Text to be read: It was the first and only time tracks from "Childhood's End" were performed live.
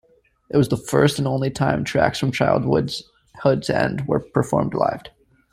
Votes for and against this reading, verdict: 0, 2, rejected